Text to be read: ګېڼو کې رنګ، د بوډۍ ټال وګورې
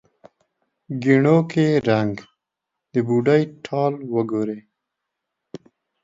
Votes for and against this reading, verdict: 2, 1, accepted